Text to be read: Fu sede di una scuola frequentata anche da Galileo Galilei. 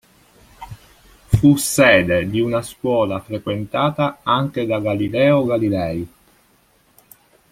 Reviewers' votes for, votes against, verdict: 2, 0, accepted